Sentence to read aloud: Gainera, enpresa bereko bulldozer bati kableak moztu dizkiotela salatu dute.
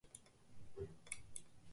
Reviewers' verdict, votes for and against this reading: rejected, 0, 2